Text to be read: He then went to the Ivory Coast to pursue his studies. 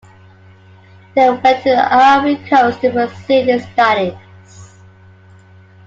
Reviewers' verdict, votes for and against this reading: accepted, 2, 1